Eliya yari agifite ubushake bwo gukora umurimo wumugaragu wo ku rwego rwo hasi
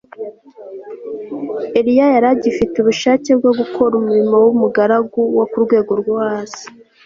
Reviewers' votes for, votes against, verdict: 2, 0, accepted